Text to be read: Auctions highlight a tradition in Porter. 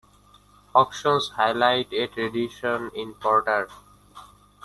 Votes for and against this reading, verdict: 2, 1, accepted